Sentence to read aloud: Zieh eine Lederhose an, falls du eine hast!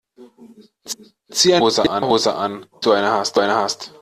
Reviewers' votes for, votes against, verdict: 0, 3, rejected